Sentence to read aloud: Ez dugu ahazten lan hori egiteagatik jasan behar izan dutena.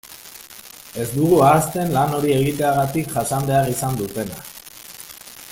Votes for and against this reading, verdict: 1, 2, rejected